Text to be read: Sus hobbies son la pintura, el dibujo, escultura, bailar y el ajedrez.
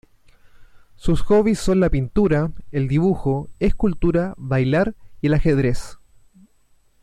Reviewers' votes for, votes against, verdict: 2, 1, accepted